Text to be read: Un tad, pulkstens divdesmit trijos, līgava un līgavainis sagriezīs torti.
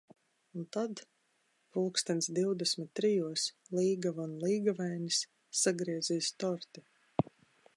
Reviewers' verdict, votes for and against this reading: accepted, 3, 0